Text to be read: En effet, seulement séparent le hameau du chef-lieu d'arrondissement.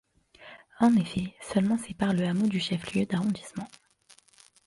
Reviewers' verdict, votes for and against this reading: accepted, 2, 0